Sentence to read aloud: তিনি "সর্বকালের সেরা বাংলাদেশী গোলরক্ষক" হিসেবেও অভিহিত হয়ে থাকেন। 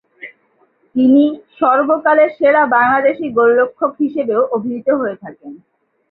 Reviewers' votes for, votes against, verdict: 2, 2, rejected